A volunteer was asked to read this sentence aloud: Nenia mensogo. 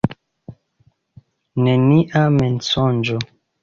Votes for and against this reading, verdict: 1, 2, rejected